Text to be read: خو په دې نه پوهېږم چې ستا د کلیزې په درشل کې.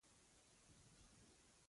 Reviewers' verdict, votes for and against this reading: rejected, 0, 2